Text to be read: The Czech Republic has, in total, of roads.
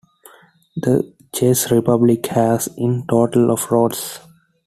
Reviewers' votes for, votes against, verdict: 2, 1, accepted